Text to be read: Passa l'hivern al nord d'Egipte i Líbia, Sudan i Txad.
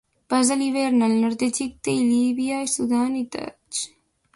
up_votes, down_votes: 0, 2